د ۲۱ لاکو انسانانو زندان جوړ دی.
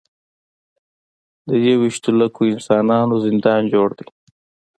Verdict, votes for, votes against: rejected, 0, 2